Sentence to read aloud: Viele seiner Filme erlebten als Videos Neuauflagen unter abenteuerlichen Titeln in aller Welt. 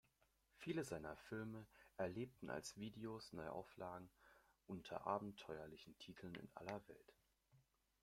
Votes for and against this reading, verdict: 2, 0, accepted